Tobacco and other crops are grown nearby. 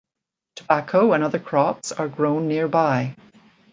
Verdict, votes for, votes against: accepted, 2, 0